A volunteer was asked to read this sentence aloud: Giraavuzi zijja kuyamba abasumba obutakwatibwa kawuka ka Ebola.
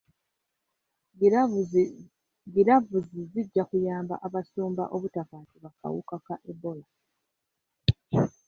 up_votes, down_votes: 1, 2